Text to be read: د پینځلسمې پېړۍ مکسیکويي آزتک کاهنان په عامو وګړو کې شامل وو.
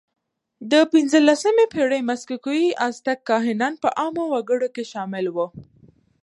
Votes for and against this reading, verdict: 2, 0, accepted